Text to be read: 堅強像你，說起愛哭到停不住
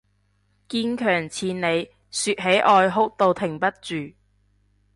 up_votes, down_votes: 1, 2